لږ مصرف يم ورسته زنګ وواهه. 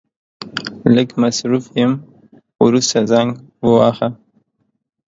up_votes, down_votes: 2, 0